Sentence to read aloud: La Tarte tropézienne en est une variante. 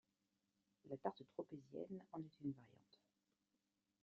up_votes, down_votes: 2, 0